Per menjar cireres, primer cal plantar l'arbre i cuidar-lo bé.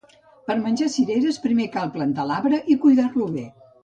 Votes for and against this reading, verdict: 2, 0, accepted